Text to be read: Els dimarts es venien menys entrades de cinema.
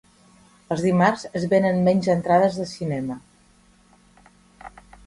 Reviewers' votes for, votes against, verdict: 0, 2, rejected